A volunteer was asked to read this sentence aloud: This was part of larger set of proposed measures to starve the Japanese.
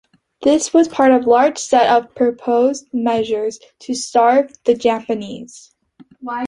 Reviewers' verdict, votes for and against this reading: accepted, 2, 1